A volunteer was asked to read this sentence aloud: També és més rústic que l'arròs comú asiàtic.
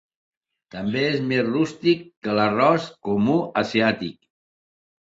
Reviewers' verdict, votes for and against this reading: accepted, 3, 0